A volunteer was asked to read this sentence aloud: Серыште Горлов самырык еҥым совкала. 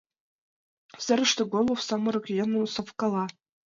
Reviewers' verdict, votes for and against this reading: accepted, 2, 0